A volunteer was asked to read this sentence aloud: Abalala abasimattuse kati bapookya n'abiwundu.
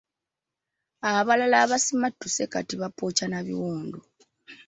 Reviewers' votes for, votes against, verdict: 2, 0, accepted